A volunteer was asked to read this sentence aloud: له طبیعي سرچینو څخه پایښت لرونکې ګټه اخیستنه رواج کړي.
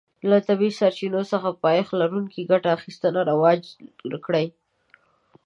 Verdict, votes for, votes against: rejected, 0, 2